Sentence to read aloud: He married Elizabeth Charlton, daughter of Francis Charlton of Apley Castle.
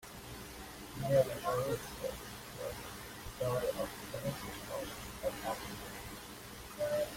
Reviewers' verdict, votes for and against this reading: rejected, 0, 3